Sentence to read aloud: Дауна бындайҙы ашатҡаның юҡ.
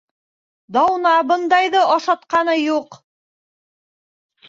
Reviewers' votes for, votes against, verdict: 1, 3, rejected